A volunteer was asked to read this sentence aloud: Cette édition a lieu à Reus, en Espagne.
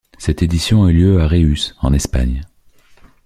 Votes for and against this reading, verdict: 1, 2, rejected